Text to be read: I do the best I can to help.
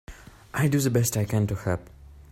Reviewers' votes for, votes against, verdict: 2, 0, accepted